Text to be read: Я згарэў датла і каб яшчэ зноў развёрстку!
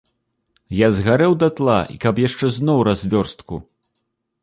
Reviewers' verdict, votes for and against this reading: accepted, 2, 0